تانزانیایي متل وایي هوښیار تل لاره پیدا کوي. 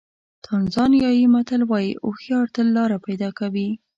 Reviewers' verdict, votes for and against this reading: accepted, 2, 0